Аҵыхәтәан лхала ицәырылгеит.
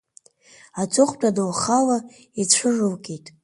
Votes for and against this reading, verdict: 2, 0, accepted